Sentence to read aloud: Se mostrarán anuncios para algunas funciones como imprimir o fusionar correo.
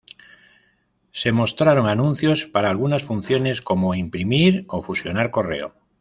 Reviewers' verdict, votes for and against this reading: rejected, 1, 2